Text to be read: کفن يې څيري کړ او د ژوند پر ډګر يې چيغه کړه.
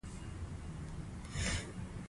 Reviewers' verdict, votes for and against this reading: accepted, 2, 0